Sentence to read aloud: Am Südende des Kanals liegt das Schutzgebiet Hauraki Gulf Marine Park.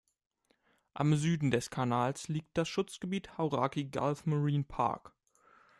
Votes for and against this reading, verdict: 0, 2, rejected